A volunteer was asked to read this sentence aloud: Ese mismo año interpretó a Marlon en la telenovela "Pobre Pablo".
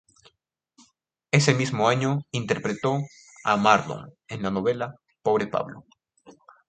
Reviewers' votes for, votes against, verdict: 0, 2, rejected